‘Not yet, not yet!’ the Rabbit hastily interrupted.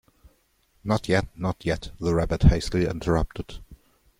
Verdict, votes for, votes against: accepted, 2, 0